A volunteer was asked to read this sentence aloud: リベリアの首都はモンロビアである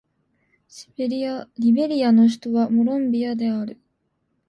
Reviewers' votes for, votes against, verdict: 0, 2, rejected